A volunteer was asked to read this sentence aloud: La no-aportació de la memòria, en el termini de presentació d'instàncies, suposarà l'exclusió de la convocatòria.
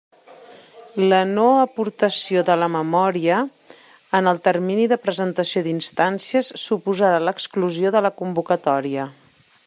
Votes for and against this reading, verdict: 2, 0, accepted